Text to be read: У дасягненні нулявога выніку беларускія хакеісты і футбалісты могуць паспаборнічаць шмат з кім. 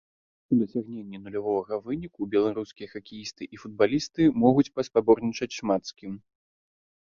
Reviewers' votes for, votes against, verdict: 1, 2, rejected